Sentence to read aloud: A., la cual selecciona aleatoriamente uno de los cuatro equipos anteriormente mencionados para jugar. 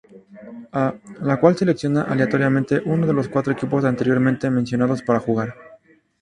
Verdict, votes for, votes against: rejected, 0, 2